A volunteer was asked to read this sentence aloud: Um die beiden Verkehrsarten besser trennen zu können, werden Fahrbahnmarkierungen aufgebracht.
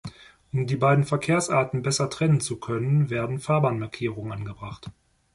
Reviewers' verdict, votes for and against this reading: rejected, 0, 2